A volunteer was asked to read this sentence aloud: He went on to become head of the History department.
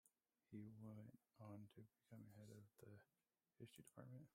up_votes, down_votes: 2, 1